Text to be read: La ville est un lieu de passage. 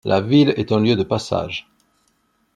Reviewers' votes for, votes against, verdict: 2, 0, accepted